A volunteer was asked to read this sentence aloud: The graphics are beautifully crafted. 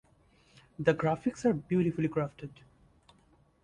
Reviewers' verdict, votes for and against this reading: rejected, 1, 2